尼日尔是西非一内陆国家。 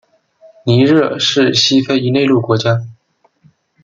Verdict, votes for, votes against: accepted, 2, 1